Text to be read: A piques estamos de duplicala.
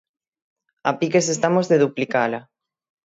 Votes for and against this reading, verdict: 6, 0, accepted